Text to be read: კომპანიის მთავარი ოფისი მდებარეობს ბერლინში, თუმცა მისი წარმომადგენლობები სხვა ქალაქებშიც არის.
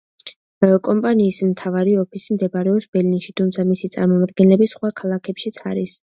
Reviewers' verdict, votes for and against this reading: rejected, 0, 2